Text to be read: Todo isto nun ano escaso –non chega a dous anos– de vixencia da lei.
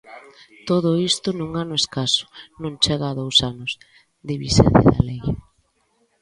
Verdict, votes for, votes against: rejected, 0, 2